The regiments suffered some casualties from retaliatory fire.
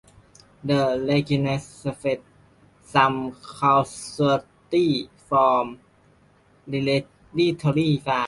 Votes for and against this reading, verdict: 0, 2, rejected